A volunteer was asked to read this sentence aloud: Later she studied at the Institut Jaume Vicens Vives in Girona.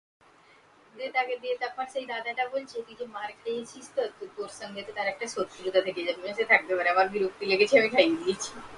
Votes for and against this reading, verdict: 0, 2, rejected